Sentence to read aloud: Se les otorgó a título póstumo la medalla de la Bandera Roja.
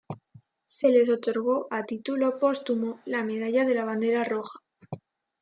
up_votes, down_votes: 2, 1